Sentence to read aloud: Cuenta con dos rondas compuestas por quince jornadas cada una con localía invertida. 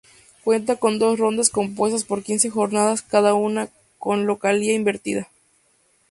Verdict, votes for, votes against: accepted, 2, 0